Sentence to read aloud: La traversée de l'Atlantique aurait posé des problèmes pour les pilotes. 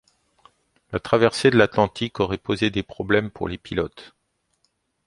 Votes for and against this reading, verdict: 2, 1, accepted